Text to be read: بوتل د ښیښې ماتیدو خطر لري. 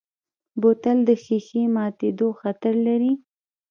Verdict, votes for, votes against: accepted, 2, 0